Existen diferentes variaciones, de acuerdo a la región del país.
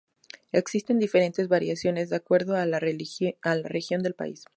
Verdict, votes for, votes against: rejected, 0, 2